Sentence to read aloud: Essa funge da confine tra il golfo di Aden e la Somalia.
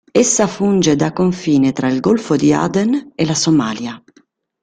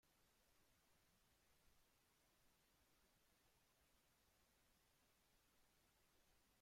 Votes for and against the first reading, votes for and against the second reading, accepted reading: 3, 0, 0, 3, first